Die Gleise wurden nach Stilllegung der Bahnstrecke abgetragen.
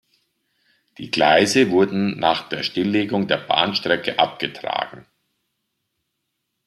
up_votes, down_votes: 1, 2